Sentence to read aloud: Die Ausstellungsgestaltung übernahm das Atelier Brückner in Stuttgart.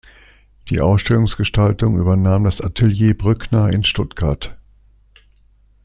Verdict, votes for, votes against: accepted, 2, 0